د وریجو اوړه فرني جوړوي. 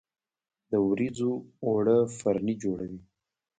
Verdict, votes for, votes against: rejected, 1, 2